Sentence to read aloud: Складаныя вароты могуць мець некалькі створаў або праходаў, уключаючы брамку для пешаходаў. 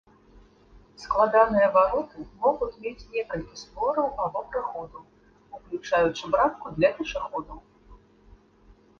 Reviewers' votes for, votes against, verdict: 0, 2, rejected